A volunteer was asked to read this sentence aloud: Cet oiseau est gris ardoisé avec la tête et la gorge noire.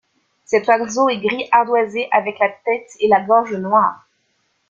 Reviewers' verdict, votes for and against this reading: accepted, 2, 0